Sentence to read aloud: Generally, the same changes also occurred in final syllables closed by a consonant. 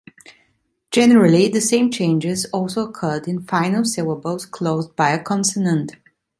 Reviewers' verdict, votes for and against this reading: accepted, 2, 0